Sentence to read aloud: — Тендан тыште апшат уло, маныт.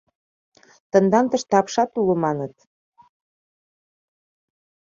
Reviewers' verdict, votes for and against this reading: accepted, 2, 0